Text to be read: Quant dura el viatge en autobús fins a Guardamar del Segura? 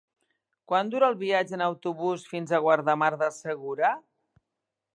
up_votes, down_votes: 1, 2